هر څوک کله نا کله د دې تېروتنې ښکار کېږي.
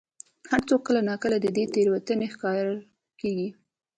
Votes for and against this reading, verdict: 2, 0, accepted